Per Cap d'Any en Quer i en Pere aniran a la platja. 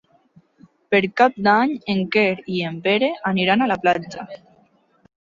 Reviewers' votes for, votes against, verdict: 5, 0, accepted